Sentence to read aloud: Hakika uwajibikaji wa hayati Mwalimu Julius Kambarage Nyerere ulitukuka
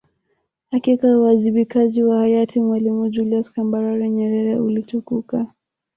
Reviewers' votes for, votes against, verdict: 2, 1, accepted